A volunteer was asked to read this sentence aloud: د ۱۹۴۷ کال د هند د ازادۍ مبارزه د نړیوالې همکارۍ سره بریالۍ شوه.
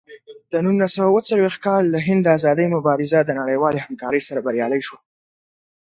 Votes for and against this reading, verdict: 0, 2, rejected